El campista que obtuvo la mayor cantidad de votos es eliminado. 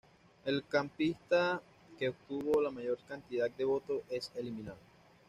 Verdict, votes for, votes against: rejected, 1, 2